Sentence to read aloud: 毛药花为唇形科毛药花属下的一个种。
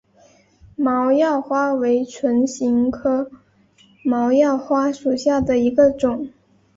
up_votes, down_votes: 5, 0